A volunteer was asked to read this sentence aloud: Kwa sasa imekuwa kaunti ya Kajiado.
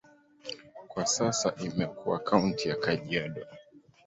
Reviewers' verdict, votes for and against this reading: rejected, 1, 2